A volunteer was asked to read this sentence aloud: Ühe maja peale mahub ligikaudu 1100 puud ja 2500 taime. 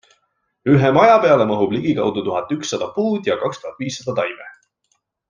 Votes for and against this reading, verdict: 0, 2, rejected